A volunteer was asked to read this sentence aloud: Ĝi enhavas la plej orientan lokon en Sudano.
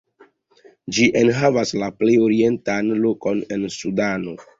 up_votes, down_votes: 2, 0